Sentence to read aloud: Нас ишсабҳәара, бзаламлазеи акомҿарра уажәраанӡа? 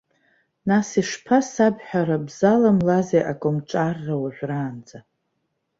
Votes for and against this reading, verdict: 1, 2, rejected